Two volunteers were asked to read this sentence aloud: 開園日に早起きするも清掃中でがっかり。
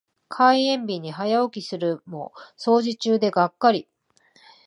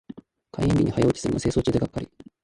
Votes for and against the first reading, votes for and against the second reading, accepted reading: 2, 1, 0, 3, first